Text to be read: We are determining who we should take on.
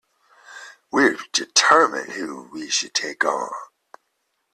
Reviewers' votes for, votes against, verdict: 0, 2, rejected